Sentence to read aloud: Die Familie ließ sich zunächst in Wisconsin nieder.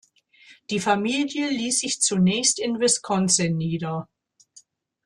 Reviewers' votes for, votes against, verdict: 2, 0, accepted